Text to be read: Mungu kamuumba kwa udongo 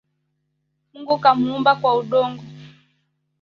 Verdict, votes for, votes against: accepted, 2, 1